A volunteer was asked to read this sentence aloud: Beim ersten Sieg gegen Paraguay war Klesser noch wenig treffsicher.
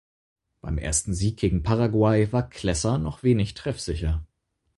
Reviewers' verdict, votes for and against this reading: accepted, 4, 0